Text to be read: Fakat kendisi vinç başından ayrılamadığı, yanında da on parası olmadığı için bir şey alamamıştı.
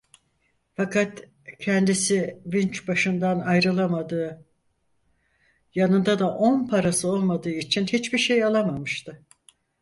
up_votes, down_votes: 0, 4